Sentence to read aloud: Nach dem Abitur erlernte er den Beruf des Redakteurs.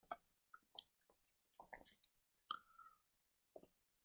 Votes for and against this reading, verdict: 0, 2, rejected